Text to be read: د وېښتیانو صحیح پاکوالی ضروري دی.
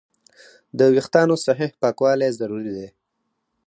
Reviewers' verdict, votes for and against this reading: accepted, 4, 2